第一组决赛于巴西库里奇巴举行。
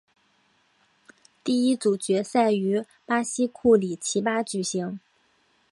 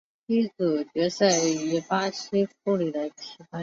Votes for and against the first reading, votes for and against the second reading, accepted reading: 2, 0, 1, 2, first